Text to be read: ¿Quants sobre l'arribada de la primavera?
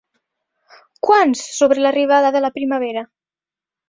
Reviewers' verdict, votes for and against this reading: accepted, 4, 0